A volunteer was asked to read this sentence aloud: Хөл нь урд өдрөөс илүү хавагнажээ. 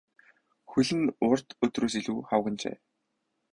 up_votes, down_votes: 10, 0